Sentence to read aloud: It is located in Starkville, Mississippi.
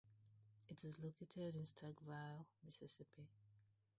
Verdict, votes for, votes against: rejected, 0, 2